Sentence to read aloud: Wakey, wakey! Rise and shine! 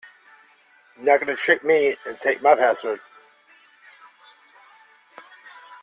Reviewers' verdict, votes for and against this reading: rejected, 0, 2